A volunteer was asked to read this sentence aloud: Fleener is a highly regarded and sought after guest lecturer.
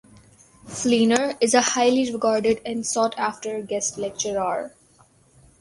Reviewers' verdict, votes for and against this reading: accepted, 4, 2